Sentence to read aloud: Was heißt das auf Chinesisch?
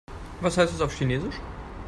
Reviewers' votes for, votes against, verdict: 1, 2, rejected